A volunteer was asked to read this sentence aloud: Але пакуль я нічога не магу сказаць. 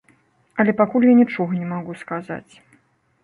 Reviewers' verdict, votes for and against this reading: rejected, 1, 2